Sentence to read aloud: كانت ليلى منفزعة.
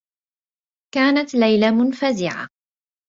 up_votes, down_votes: 2, 0